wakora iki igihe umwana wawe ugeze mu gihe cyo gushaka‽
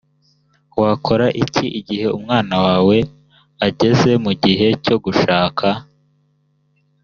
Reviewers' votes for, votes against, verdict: 1, 2, rejected